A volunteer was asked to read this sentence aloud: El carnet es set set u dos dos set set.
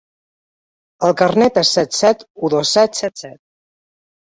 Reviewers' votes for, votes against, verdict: 1, 2, rejected